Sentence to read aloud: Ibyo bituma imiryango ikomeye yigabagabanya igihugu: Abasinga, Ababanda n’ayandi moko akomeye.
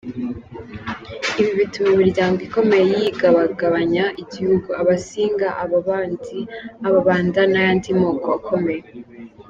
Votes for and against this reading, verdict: 0, 3, rejected